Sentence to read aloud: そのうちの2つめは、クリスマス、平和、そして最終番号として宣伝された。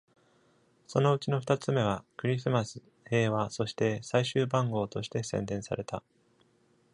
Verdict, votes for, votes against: rejected, 0, 2